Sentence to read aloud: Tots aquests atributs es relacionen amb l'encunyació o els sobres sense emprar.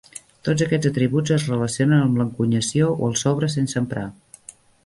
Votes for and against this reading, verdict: 1, 2, rejected